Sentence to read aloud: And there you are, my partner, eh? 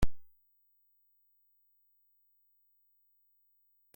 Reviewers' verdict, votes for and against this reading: rejected, 0, 2